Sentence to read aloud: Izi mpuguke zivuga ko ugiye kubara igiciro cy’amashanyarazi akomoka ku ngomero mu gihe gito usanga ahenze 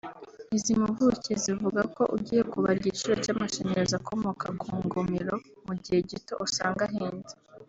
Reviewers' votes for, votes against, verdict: 2, 0, accepted